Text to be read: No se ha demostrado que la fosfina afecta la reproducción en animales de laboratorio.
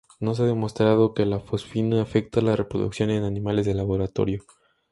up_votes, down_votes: 2, 0